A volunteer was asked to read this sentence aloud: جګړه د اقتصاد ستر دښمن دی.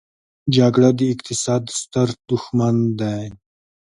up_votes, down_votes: 2, 0